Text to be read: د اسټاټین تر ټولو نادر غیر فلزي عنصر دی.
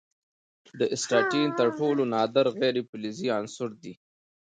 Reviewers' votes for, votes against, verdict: 2, 0, accepted